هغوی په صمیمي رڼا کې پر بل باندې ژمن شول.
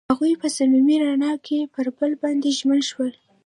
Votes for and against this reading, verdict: 0, 2, rejected